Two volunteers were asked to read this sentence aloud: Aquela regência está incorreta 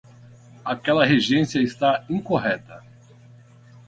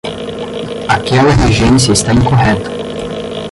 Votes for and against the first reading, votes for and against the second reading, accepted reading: 8, 0, 0, 10, first